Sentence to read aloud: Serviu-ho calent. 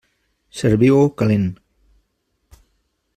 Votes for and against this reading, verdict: 3, 0, accepted